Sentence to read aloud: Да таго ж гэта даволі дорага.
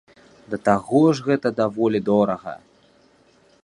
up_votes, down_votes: 2, 0